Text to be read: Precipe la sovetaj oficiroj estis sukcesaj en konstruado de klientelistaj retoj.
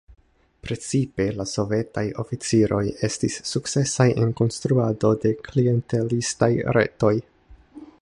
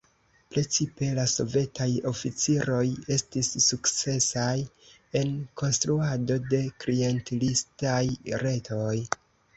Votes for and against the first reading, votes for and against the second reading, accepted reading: 1, 2, 2, 0, second